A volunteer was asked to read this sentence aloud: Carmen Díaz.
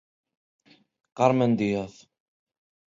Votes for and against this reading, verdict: 2, 0, accepted